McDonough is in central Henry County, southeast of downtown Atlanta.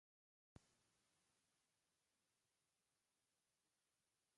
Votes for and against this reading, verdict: 0, 2, rejected